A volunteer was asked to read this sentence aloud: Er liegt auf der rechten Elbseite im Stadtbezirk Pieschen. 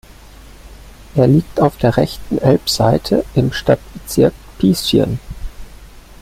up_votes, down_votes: 0, 2